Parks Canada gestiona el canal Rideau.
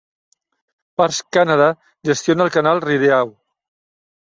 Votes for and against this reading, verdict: 0, 2, rejected